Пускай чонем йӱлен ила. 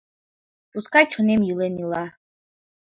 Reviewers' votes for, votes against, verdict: 2, 0, accepted